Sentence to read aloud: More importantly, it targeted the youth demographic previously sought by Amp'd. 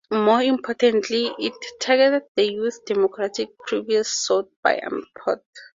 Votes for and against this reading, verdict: 2, 2, rejected